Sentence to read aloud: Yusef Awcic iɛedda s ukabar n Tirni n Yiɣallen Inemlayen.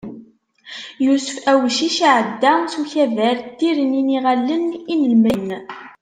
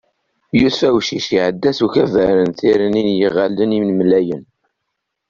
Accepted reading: second